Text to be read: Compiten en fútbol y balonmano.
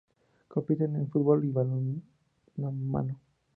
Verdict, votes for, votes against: accepted, 2, 0